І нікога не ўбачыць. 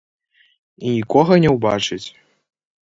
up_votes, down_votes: 1, 2